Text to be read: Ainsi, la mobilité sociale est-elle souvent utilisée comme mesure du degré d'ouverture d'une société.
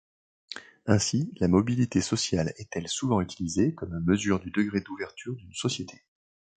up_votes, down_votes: 2, 0